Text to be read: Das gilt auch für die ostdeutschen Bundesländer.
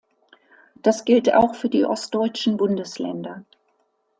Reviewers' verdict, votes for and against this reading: accepted, 2, 0